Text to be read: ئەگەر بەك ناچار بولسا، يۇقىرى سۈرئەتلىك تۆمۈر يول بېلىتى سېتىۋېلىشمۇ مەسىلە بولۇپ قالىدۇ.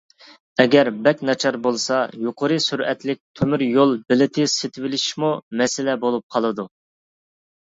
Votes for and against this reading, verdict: 2, 0, accepted